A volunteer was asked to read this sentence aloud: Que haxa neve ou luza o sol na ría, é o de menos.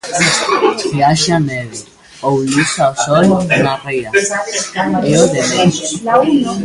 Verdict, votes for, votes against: rejected, 0, 2